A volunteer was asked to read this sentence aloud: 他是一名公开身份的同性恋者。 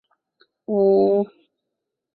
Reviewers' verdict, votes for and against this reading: rejected, 1, 3